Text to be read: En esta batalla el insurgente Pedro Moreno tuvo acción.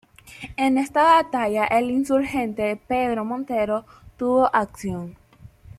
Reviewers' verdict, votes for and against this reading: rejected, 1, 2